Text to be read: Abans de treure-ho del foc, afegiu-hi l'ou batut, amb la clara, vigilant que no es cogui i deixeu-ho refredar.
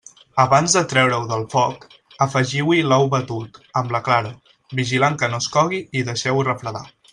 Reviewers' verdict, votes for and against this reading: accepted, 3, 0